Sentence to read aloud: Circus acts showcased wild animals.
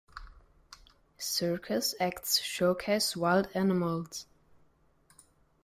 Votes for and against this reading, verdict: 2, 0, accepted